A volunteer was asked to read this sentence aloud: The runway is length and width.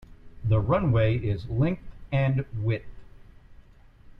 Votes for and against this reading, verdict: 0, 2, rejected